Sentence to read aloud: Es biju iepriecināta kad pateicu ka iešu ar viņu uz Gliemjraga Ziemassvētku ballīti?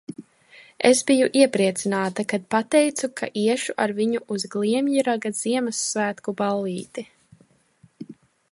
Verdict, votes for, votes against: accepted, 2, 0